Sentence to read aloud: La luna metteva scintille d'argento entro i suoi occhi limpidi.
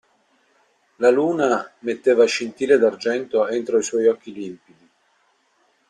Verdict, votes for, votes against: accepted, 2, 0